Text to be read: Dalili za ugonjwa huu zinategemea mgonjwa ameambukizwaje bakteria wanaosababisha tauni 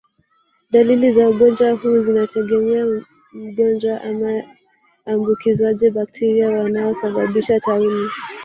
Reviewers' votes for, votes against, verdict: 1, 2, rejected